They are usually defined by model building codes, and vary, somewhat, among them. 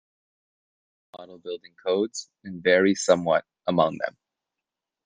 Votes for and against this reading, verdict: 0, 2, rejected